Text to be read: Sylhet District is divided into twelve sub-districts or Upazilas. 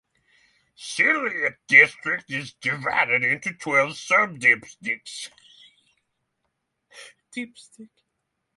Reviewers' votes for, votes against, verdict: 0, 6, rejected